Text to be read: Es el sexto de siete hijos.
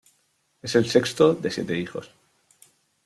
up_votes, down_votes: 2, 0